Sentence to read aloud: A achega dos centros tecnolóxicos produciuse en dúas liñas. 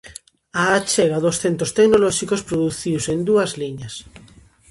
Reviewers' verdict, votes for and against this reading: accepted, 2, 0